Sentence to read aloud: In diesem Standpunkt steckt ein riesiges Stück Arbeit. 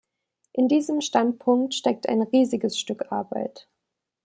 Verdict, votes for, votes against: accepted, 2, 0